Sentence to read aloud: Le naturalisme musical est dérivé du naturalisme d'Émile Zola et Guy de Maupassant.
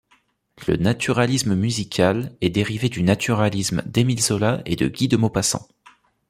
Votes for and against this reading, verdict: 1, 2, rejected